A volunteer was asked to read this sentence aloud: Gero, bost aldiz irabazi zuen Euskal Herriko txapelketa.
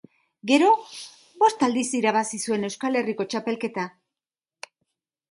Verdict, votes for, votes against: accepted, 3, 0